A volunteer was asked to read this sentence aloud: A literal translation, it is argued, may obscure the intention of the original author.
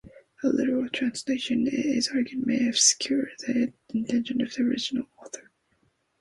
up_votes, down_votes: 1, 2